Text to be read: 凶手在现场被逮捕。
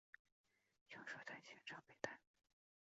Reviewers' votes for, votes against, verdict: 4, 0, accepted